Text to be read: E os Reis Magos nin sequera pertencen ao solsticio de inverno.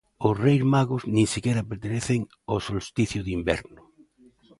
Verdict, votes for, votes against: accepted, 4, 2